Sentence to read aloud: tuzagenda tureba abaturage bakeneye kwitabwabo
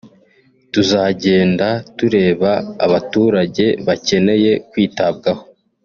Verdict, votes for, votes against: accepted, 3, 0